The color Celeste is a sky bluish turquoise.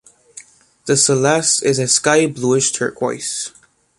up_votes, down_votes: 1, 2